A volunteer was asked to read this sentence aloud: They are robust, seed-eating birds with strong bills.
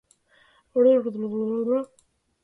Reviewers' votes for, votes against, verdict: 0, 2, rejected